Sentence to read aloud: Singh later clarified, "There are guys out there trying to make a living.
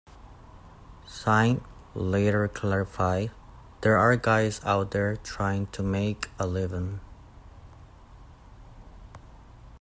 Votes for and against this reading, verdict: 0, 2, rejected